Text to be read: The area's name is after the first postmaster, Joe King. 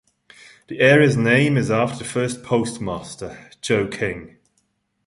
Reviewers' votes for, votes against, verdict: 0, 2, rejected